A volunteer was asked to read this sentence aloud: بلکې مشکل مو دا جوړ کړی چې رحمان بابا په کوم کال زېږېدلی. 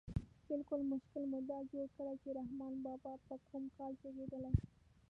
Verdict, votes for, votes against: rejected, 1, 2